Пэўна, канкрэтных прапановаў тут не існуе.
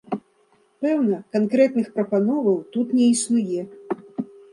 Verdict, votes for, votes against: accepted, 2, 0